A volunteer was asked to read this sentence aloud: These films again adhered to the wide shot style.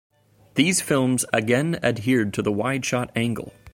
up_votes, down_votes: 1, 2